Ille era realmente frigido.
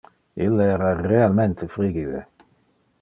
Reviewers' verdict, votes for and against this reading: rejected, 1, 2